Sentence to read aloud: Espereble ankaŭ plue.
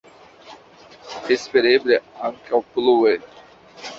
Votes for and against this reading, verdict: 2, 1, accepted